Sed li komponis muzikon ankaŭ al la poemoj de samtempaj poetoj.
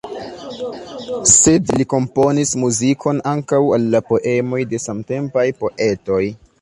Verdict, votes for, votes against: rejected, 1, 2